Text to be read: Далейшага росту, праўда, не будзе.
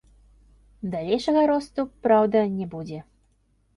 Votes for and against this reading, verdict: 1, 2, rejected